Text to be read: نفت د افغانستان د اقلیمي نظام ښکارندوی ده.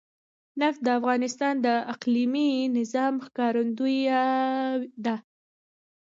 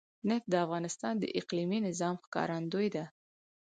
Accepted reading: second